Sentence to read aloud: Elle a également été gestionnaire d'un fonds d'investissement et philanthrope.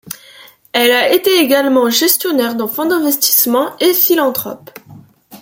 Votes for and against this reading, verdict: 2, 1, accepted